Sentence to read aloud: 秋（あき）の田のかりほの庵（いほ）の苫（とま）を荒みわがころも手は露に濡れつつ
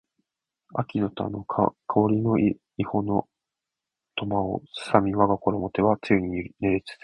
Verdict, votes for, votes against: rejected, 0, 2